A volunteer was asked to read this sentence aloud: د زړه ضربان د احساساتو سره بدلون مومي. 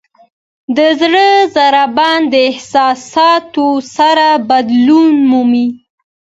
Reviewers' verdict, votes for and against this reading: accepted, 2, 0